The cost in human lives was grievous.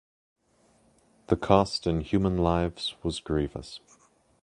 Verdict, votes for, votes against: accepted, 2, 0